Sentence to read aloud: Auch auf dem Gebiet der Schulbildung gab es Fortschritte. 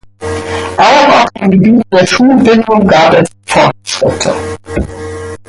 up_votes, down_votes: 1, 2